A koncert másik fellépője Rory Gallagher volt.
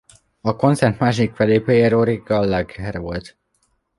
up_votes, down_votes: 0, 2